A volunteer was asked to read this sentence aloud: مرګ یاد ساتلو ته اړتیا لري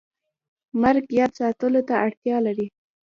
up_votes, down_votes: 0, 2